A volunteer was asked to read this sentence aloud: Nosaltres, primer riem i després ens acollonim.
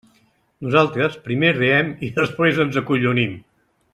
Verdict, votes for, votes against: rejected, 0, 2